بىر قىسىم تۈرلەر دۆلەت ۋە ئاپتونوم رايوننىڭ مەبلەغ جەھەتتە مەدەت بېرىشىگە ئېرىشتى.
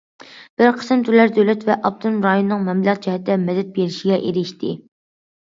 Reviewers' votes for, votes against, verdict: 2, 0, accepted